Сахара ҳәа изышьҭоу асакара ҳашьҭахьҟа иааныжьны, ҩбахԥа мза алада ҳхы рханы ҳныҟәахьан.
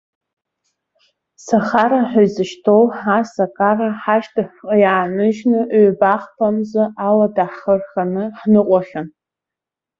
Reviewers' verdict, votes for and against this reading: accepted, 2, 0